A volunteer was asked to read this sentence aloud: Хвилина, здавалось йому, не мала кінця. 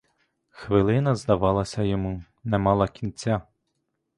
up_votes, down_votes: 1, 2